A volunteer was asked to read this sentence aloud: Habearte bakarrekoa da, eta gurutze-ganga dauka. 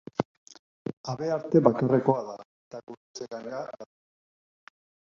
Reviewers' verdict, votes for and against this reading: rejected, 0, 2